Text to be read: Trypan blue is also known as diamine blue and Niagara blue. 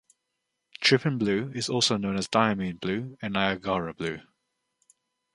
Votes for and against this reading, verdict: 2, 0, accepted